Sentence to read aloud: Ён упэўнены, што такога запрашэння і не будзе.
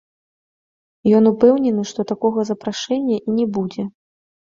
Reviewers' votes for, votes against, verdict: 0, 2, rejected